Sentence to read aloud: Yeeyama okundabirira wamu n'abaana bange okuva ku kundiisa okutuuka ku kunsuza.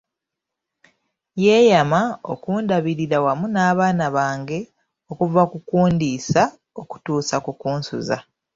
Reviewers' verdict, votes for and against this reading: rejected, 0, 2